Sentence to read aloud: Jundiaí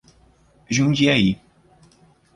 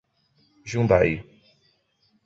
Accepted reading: first